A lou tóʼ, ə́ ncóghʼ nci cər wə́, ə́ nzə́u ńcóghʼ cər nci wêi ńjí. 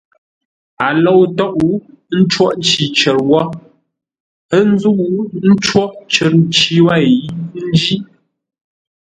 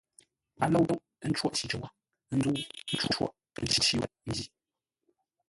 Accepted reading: first